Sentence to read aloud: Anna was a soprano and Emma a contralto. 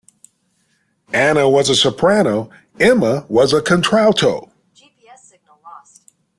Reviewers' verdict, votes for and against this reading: rejected, 0, 2